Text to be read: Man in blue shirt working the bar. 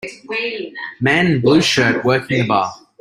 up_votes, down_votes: 0, 2